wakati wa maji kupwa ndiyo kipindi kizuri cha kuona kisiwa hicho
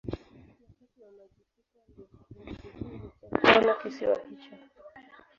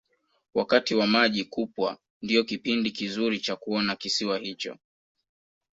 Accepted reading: second